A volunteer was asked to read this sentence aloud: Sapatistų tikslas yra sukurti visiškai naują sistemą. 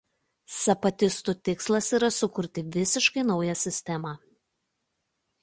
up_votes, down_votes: 2, 0